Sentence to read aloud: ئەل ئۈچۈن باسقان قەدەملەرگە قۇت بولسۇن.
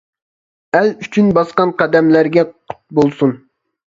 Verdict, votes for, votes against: accepted, 2, 0